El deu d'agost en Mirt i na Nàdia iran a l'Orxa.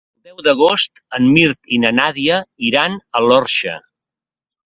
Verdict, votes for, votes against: rejected, 2, 3